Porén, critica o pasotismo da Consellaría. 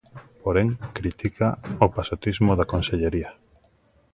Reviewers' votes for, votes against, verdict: 0, 2, rejected